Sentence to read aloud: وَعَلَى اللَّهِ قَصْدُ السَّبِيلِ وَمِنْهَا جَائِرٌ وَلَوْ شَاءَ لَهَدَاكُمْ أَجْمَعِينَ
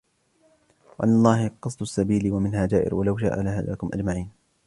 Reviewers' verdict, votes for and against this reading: accepted, 2, 1